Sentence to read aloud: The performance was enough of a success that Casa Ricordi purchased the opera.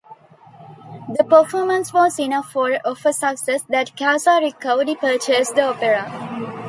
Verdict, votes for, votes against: rejected, 0, 2